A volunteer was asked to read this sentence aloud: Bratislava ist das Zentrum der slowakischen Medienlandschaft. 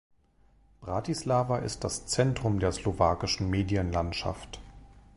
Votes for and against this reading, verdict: 2, 0, accepted